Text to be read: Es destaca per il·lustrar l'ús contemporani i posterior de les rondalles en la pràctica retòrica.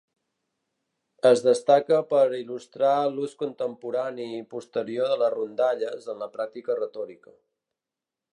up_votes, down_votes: 2, 3